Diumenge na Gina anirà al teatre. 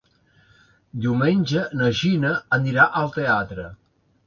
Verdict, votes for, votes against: accepted, 3, 0